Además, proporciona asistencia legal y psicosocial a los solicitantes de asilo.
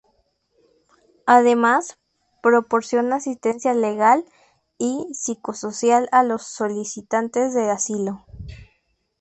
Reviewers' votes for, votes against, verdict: 2, 0, accepted